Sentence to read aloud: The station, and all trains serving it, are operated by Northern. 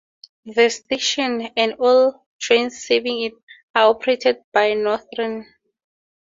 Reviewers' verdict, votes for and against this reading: rejected, 2, 4